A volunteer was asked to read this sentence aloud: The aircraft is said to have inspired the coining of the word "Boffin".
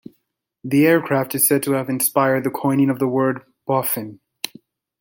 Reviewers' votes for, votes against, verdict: 2, 0, accepted